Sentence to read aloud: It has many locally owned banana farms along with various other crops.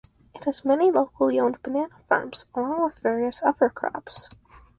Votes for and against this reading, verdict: 0, 4, rejected